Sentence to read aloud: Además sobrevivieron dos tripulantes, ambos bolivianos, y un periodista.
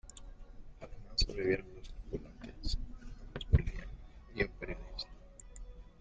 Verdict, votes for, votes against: rejected, 0, 2